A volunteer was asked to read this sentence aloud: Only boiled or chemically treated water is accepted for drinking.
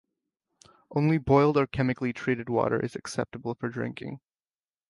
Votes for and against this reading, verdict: 0, 2, rejected